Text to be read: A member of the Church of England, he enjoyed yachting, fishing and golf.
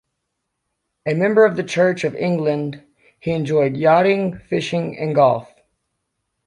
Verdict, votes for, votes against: rejected, 1, 2